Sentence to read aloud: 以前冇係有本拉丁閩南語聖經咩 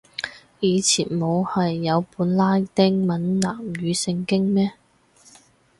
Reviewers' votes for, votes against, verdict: 4, 0, accepted